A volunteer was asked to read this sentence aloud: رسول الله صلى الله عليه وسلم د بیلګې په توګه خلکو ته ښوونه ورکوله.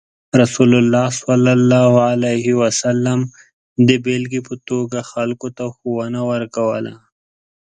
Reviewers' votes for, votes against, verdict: 2, 0, accepted